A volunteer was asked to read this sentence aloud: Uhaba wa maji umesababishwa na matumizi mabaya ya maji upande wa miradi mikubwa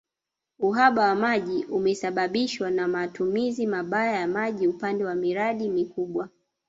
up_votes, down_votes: 1, 2